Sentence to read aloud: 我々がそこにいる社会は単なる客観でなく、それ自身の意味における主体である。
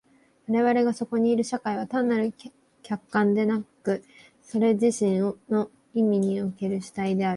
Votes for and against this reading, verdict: 1, 2, rejected